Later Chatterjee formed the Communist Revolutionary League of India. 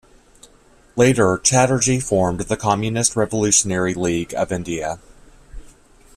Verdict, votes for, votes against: accepted, 2, 0